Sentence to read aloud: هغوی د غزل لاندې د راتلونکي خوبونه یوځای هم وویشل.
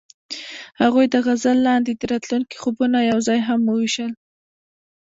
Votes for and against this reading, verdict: 1, 2, rejected